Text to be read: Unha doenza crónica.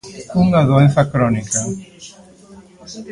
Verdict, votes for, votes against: rejected, 1, 2